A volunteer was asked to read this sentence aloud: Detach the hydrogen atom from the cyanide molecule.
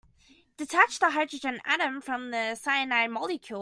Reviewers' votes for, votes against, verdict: 2, 0, accepted